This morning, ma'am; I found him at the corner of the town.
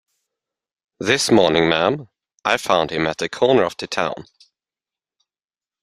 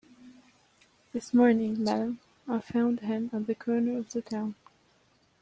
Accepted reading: first